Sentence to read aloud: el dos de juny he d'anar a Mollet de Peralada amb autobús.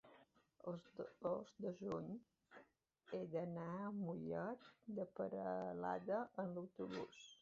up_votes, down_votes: 0, 2